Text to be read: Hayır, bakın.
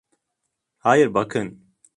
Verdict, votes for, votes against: accepted, 2, 0